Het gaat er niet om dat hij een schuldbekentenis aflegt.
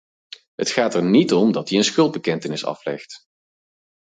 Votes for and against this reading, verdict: 2, 4, rejected